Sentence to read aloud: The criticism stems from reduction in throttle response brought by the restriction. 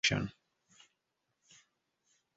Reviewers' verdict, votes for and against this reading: rejected, 1, 2